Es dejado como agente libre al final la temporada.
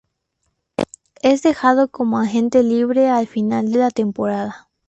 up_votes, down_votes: 2, 0